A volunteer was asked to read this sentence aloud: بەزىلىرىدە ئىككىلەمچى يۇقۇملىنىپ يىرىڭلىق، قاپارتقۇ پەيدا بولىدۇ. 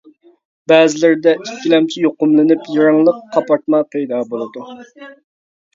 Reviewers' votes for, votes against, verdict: 0, 2, rejected